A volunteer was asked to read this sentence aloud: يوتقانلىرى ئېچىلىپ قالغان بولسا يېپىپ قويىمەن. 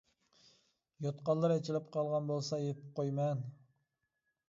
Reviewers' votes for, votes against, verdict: 3, 0, accepted